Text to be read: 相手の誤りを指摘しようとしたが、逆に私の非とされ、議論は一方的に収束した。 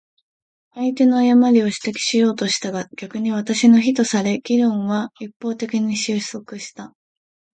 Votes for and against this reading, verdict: 2, 1, accepted